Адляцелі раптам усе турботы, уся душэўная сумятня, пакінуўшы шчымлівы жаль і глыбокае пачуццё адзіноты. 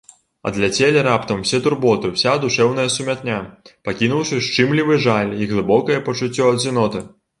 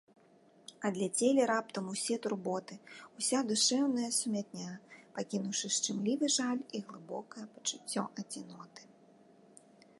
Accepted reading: second